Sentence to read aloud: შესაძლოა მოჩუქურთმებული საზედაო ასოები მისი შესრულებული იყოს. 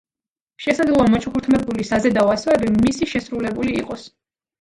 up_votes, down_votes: 1, 2